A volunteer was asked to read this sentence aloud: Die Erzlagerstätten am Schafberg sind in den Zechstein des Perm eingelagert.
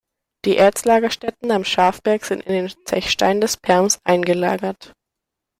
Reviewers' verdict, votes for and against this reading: rejected, 0, 2